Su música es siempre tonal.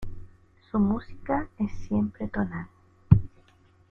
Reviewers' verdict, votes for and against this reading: accepted, 2, 0